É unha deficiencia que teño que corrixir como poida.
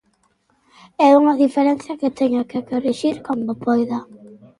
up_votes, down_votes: 0, 2